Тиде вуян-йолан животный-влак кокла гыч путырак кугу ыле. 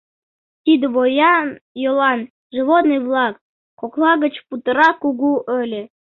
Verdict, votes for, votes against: rejected, 1, 2